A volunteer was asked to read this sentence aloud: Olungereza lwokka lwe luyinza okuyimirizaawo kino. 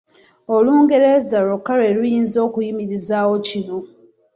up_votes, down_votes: 2, 1